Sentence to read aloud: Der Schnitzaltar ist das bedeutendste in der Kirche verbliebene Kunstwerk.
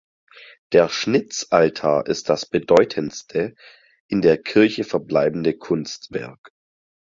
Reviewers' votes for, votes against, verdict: 0, 4, rejected